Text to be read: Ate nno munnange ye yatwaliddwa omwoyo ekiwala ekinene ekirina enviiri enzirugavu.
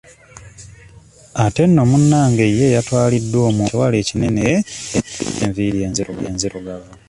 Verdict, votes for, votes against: rejected, 0, 2